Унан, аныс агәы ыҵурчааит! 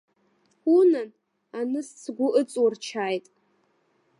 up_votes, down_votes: 0, 2